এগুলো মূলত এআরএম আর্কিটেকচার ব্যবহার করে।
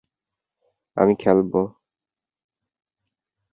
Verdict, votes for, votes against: rejected, 0, 3